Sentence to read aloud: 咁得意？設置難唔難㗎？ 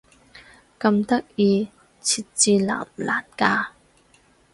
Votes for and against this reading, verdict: 4, 0, accepted